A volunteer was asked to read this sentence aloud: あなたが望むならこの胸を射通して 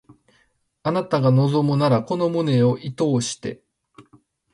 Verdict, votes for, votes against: accepted, 2, 0